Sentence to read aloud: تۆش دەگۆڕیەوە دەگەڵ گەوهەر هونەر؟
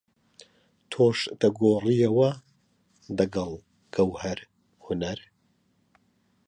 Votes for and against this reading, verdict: 2, 0, accepted